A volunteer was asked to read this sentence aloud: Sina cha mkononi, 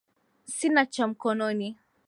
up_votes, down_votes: 1, 2